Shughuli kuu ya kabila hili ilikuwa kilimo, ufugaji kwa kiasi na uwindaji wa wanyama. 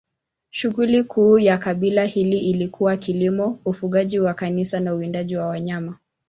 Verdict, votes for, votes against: rejected, 1, 2